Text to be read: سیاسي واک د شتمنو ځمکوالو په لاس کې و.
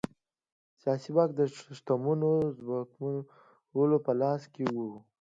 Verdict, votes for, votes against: accepted, 2, 0